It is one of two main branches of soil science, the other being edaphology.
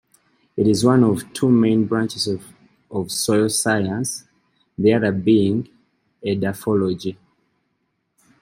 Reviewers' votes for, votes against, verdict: 0, 2, rejected